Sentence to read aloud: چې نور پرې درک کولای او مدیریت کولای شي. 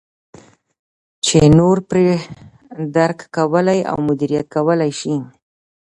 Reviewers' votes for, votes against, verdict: 2, 0, accepted